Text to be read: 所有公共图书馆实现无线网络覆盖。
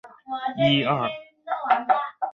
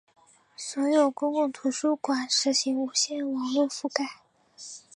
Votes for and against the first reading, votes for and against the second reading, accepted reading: 1, 2, 2, 1, second